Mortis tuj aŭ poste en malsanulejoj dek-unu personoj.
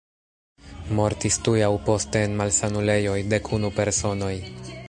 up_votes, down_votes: 2, 0